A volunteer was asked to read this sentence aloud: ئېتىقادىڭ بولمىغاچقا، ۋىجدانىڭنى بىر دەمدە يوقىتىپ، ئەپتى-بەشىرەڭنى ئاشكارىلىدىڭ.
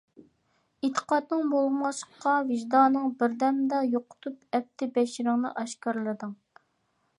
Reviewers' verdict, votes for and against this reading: rejected, 1, 2